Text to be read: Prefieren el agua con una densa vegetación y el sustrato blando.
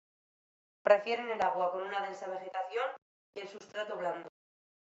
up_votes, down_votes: 2, 0